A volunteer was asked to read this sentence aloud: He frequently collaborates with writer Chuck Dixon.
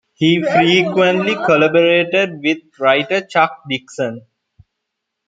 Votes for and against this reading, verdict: 1, 2, rejected